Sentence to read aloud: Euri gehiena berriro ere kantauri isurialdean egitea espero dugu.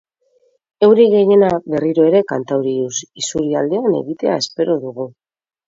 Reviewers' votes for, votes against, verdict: 2, 4, rejected